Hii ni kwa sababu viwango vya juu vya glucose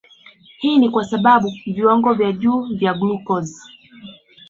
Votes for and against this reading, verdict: 0, 2, rejected